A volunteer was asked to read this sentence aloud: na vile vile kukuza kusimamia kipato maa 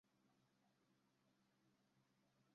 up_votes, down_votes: 0, 2